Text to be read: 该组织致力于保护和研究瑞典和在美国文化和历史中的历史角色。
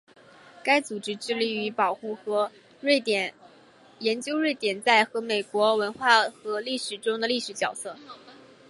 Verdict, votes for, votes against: rejected, 2, 3